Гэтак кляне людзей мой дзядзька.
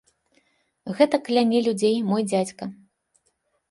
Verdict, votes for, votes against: accepted, 2, 0